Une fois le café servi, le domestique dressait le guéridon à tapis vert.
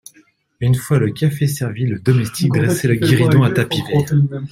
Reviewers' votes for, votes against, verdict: 0, 2, rejected